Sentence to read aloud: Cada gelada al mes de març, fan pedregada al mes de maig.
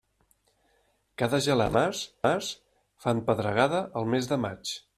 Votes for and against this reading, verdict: 0, 2, rejected